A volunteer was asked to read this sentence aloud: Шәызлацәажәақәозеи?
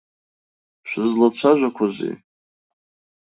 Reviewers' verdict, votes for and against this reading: accepted, 2, 0